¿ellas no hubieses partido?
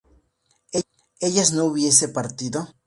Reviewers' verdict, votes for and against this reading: rejected, 0, 2